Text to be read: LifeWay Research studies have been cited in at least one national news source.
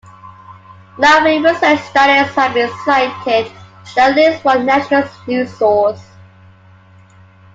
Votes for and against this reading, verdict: 1, 2, rejected